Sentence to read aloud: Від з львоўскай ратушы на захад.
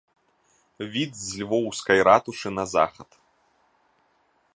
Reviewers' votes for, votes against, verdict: 2, 0, accepted